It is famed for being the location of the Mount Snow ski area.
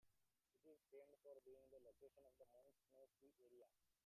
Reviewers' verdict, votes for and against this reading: rejected, 0, 2